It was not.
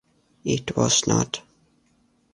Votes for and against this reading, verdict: 2, 0, accepted